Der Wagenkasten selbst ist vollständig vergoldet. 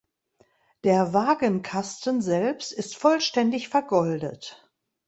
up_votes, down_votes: 2, 0